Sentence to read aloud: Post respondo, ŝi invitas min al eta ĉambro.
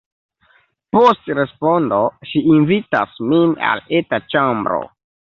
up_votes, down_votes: 2, 1